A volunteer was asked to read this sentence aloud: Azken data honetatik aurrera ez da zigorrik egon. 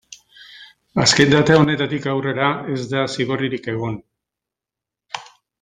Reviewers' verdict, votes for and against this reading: rejected, 1, 2